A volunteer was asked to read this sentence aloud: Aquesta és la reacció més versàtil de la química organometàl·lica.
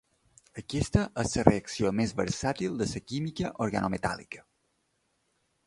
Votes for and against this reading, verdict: 0, 3, rejected